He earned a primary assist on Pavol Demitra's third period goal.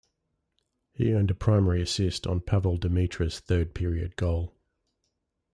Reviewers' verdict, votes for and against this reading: accepted, 2, 0